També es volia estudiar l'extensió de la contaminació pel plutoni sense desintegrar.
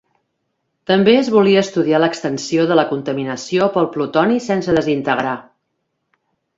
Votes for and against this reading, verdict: 2, 0, accepted